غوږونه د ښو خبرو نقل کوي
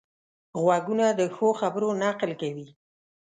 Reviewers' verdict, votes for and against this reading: accepted, 3, 0